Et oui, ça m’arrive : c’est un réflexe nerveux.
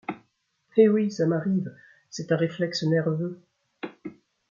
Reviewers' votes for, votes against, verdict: 2, 0, accepted